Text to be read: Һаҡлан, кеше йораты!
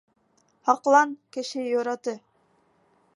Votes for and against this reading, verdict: 2, 0, accepted